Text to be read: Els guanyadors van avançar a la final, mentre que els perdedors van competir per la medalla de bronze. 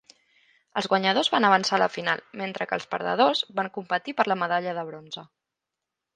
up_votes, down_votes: 1, 3